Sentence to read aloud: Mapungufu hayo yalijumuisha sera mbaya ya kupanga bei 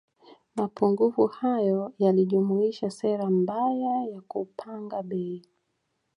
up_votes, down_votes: 2, 1